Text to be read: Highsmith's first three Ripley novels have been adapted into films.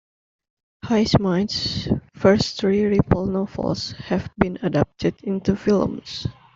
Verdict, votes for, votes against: rejected, 0, 2